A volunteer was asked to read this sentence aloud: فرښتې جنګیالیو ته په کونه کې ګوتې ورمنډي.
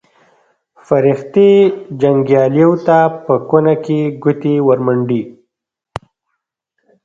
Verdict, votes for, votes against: rejected, 1, 2